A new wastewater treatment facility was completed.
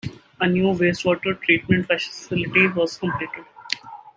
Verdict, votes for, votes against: rejected, 1, 2